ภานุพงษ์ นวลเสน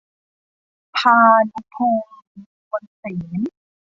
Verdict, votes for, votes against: rejected, 1, 2